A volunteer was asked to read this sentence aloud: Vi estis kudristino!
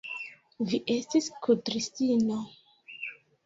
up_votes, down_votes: 2, 1